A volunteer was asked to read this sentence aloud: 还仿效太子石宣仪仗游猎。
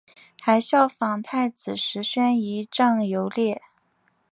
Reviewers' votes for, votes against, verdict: 2, 1, accepted